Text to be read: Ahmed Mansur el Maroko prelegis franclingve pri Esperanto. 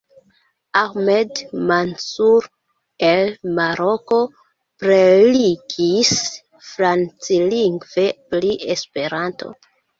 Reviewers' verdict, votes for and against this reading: accepted, 2, 1